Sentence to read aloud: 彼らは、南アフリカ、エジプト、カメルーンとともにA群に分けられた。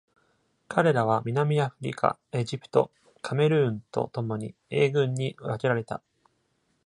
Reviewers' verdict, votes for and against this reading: accepted, 2, 0